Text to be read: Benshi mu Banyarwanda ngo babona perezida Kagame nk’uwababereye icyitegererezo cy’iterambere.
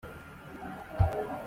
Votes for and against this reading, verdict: 0, 2, rejected